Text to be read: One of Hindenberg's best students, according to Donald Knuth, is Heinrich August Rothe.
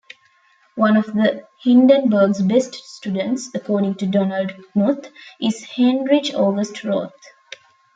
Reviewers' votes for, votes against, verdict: 0, 2, rejected